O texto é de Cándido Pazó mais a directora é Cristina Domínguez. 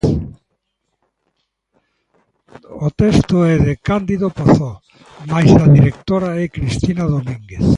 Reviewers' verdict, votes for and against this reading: accepted, 2, 1